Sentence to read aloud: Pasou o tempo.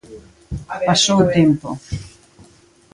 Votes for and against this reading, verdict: 0, 2, rejected